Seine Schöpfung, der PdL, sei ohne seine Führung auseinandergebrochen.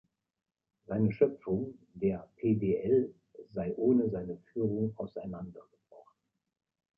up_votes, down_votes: 2, 1